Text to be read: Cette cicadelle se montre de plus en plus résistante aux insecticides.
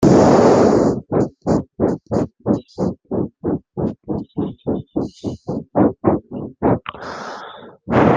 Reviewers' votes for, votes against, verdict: 0, 2, rejected